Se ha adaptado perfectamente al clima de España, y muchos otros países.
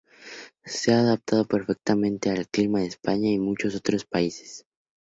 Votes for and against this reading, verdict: 2, 0, accepted